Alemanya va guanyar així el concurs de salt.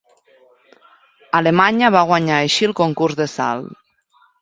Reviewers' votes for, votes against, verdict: 2, 0, accepted